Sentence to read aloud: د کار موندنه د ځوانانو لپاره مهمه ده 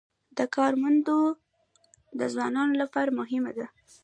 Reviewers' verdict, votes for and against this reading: rejected, 1, 2